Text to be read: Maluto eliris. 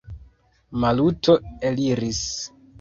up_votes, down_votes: 2, 1